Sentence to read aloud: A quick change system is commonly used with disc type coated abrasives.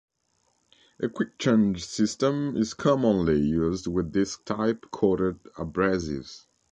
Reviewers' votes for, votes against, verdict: 1, 2, rejected